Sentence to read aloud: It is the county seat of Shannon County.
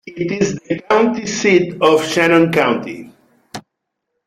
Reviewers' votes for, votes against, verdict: 1, 2, rejected